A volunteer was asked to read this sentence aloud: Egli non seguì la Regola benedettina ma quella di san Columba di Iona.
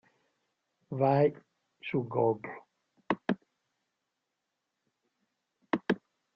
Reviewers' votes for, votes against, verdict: 0, 2, rejected